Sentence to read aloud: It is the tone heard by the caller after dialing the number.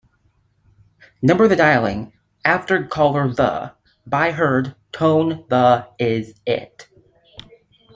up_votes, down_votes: 0, 2